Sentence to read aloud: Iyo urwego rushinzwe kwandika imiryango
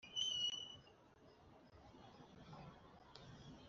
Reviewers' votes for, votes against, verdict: 4, 2, accepted